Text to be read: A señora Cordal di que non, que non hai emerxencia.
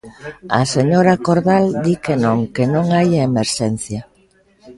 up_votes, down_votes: 2, 0